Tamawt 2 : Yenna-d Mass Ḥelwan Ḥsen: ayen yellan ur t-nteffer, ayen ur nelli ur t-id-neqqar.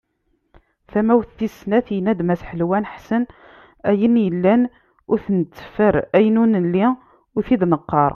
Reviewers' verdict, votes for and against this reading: rejected, 0, 2